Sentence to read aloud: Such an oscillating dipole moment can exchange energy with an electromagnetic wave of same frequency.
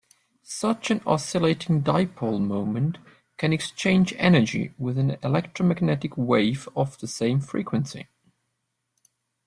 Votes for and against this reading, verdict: 3, 0, accepted